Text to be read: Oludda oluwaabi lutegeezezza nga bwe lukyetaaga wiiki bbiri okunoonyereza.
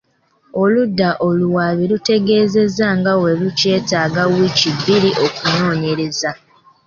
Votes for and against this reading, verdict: 2, 0, accepted